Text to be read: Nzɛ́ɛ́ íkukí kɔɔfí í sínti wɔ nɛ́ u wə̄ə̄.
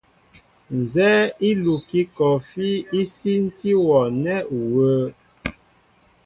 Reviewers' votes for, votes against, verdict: 2, 0, accepted